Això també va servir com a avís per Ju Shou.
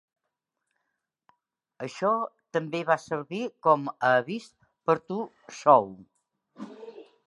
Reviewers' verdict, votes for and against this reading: rejected, 1, 3